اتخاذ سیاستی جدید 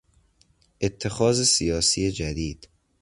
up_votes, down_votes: 0, 2